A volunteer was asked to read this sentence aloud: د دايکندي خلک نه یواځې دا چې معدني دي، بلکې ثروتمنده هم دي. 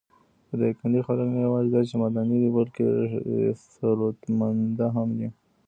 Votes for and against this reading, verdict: 1, 2, rejected